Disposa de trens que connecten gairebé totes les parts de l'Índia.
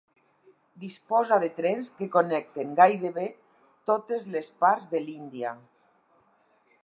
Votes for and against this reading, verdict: 4, 0, accepted